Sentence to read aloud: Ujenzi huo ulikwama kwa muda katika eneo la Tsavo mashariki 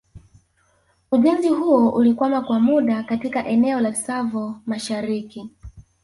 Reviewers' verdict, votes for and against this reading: accepted, 2, 0